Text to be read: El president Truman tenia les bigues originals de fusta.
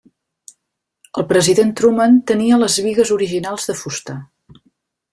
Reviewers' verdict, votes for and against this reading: accepted, 3, 0